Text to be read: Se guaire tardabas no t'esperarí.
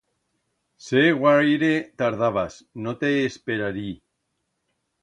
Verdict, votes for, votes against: rejected, 1, 2